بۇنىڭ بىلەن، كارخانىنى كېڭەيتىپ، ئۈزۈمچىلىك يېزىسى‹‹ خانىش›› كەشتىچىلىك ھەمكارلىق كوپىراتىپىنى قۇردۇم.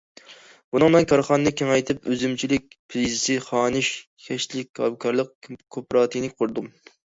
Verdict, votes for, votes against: rejected, 0, 2